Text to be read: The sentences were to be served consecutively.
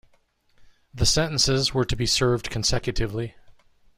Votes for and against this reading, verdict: 2, 0, accepted